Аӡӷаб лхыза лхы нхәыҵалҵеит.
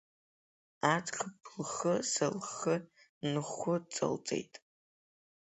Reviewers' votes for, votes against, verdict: 2, 0, accepted